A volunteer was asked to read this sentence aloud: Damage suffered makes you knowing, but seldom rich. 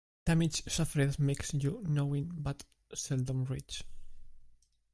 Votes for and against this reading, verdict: 2, 1, accepted